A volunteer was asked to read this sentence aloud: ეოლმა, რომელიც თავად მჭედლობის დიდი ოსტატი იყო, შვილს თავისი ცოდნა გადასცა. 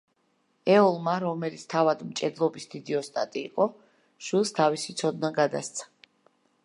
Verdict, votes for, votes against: accepted, 2, 0